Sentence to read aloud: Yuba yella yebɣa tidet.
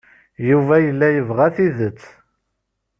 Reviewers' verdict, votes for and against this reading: accepted, 2, 0